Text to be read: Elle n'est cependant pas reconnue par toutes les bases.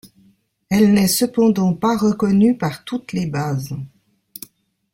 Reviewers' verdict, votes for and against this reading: accepted, 2, 1